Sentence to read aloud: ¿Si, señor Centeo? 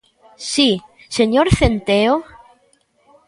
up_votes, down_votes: 1, 2